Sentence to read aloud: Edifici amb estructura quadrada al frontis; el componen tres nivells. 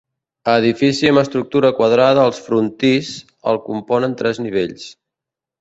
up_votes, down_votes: 1, 2